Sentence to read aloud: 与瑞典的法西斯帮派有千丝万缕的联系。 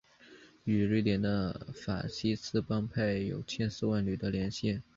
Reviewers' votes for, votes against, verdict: 3, 0, accepted